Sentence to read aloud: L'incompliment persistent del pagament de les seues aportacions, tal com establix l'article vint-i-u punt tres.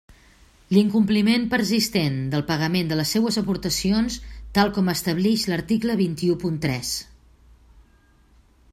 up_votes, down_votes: 2, 1